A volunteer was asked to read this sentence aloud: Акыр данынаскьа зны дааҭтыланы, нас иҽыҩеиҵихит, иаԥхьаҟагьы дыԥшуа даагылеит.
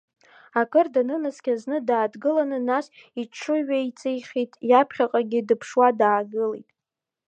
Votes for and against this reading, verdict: 2, 0, accepted